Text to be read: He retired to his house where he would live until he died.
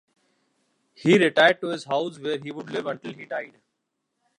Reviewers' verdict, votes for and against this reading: accepted, 2, 1